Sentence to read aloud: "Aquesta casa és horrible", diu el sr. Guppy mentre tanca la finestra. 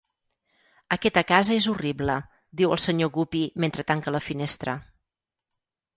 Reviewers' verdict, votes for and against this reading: rejected, 2, 4